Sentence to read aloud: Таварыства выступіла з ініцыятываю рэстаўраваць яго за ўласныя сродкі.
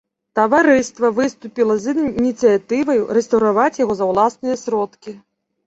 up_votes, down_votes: 0, 2